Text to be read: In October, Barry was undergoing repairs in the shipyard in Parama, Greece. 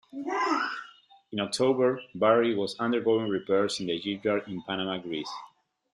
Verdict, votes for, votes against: rejected, 0, 2